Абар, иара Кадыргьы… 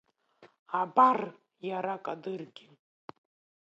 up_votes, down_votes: 1, 2